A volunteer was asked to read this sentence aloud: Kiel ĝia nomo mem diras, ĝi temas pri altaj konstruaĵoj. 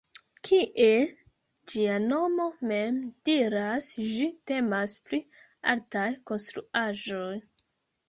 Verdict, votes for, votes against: rejected, 1, 2